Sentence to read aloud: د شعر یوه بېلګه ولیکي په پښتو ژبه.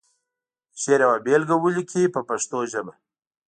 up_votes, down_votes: 2, 0